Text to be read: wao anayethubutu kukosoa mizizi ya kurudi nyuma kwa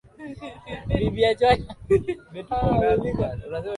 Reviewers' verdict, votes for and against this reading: rejected, 0, 2